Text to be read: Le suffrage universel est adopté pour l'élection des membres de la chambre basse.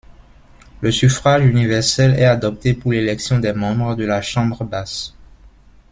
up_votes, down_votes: 0, 2